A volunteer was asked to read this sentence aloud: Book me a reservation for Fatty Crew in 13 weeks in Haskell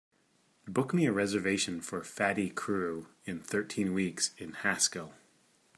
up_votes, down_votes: 0, 2